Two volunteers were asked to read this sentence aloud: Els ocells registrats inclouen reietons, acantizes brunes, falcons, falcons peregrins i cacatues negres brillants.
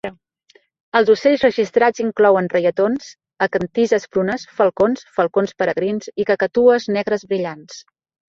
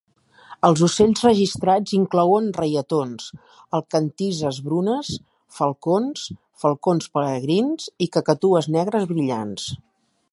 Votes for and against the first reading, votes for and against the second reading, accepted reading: 3, 0, 1, 2, first